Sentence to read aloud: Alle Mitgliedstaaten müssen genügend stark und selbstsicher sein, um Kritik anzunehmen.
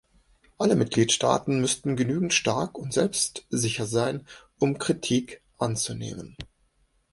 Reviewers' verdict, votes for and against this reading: rejected, 1, 2